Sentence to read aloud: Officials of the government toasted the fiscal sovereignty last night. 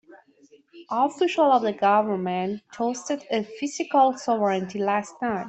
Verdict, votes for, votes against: rejected, 1, 2